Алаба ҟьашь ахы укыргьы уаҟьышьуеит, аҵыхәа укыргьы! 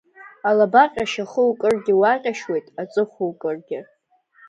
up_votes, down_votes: 1, 2